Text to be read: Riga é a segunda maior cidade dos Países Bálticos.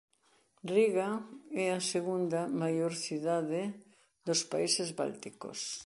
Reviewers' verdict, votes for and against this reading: accepted, 2, 0